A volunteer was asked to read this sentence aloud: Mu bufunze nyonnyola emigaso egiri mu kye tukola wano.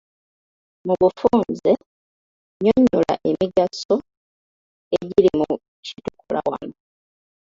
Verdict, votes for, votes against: rejected, 0, 2